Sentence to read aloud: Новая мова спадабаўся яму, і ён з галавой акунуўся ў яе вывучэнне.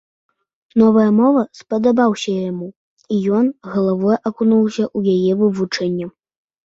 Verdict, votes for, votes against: accepted, 2, 1